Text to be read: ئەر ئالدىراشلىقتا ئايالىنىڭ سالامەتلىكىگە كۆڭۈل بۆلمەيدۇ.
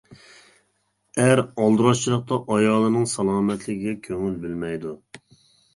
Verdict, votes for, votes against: rejected, 0, 2